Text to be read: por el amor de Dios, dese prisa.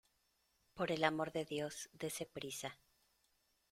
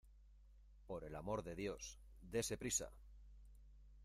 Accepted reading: first